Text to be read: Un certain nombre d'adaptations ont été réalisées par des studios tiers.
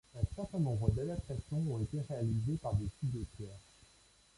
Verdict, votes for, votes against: rejected, 0, 2